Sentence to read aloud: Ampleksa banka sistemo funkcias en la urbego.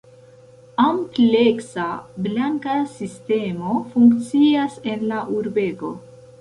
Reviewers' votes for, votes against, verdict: 2, 3, rejected